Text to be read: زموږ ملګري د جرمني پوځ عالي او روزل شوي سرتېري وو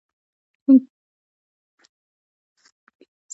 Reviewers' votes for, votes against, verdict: 1, 2, rejected